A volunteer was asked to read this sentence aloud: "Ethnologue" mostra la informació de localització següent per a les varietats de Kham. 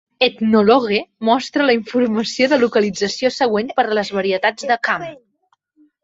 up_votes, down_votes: 1, 2